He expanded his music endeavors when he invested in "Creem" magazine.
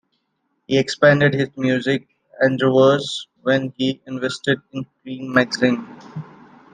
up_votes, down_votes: 2, 0